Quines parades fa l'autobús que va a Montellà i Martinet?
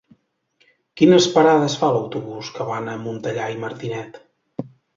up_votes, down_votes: 1, 4